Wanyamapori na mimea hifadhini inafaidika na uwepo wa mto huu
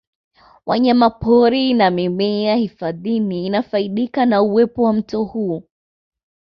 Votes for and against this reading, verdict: 2, 0, accepted